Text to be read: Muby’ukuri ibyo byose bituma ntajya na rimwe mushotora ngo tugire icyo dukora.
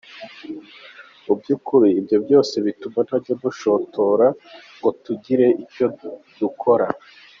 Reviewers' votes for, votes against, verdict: 1, 2, rejected